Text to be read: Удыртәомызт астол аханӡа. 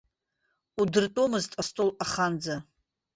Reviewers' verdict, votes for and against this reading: rejected, 1, 2